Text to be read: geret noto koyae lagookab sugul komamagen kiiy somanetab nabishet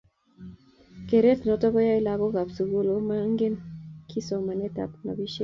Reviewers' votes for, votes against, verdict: 1, 2, rejected